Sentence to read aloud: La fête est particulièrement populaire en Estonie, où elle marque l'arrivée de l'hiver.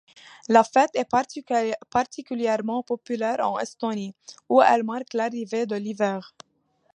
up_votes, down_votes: 0, 2